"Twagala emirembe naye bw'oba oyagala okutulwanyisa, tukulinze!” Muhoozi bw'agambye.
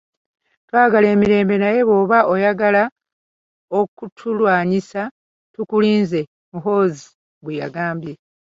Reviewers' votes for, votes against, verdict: 0, 2, rejected